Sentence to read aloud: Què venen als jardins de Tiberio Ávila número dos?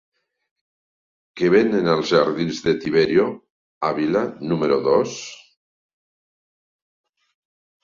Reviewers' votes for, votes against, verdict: 1, 2, rejected